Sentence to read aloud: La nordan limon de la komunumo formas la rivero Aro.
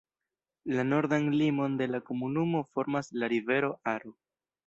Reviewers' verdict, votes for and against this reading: rejected, 1, 2